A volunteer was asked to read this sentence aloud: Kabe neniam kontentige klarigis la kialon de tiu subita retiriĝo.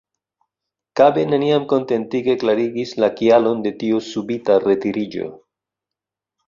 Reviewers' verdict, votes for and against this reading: accepted, 2, 0